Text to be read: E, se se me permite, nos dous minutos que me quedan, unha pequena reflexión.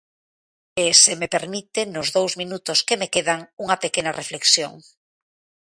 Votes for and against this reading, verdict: 1, 2, rejected